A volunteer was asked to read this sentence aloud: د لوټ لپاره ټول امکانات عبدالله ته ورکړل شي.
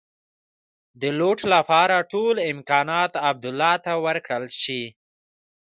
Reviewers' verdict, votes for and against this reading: rejected, 1, 2